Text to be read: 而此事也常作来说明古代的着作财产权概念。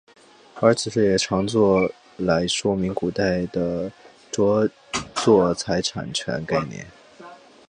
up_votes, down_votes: 2, 0